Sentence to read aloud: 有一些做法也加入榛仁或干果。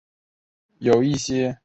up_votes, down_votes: 0, 2